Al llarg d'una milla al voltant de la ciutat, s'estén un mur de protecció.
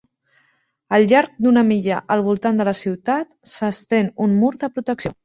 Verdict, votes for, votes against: accepted, 2, 0